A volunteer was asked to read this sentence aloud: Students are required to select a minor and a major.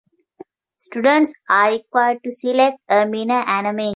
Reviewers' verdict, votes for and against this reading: rejected, 0, 2